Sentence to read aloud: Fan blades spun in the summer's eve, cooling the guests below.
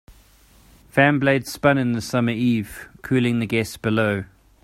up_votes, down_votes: 2, 0